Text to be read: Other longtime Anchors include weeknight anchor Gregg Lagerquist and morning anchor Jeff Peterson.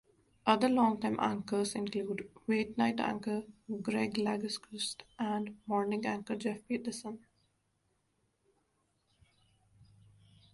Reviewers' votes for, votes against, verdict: 2, 1, accepted